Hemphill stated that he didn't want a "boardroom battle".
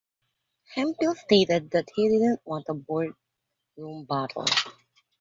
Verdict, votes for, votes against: rejected, 0, 2